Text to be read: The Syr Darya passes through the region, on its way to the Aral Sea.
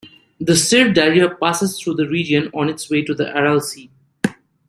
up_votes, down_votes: 2, 0